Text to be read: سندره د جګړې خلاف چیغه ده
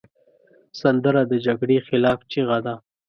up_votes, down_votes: 2, 0